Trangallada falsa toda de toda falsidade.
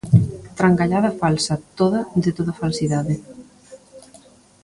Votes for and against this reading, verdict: 0, 2, rejected